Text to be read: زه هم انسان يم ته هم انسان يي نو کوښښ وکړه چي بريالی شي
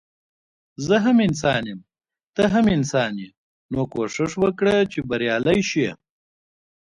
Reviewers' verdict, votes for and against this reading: accepted, 2, 1